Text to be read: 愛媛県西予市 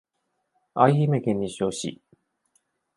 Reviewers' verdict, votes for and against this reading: rejected, 1, 2